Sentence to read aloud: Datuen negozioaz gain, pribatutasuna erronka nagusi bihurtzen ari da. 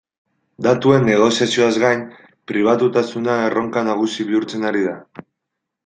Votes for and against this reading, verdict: 0, 2, rejected